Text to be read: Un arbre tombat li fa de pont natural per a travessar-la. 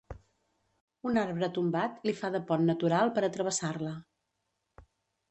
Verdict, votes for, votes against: accepted, 2, 0